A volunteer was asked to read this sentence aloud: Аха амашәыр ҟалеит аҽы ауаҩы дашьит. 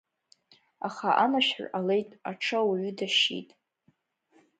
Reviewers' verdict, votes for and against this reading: accepted, 3, 0